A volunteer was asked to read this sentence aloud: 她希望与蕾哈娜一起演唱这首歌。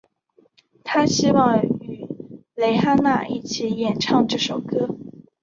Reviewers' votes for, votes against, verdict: 1, 3, rejected